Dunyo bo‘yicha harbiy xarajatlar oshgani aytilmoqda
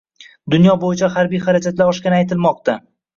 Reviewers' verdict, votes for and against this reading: accepted, 2, 0